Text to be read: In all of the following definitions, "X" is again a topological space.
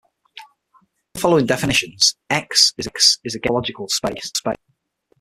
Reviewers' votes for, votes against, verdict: 0, 6, rejected